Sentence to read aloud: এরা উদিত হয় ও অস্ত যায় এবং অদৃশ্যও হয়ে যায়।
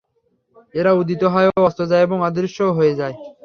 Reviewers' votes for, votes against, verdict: 3, 0, accepted